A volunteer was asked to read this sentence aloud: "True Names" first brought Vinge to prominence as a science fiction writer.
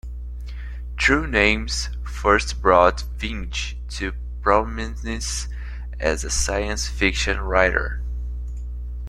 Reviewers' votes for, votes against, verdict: 2, 0, accepted